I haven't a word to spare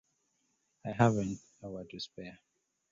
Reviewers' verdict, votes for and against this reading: rejected, 0, 2